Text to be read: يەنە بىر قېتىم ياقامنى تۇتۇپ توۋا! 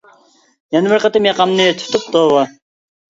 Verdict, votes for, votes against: accepted, 2, 0